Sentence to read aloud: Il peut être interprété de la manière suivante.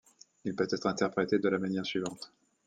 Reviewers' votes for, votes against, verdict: 2, 0, accepted